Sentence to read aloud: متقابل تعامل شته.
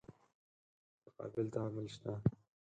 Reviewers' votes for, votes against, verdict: 0, 4, rejected